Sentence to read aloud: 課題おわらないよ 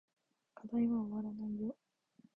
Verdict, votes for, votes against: rejected, 1, 2